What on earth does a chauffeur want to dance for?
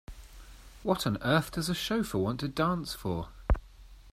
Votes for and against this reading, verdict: 2, 0, accepted